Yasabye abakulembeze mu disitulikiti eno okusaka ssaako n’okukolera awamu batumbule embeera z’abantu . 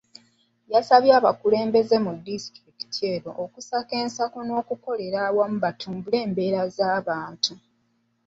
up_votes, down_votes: 2, 0